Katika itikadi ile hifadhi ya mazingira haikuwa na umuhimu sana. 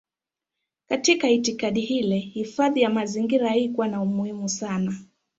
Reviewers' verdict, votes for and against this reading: rejected, 1, 2